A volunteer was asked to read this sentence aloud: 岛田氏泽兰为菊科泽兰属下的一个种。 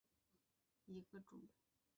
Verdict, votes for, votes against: rejected, 0, 3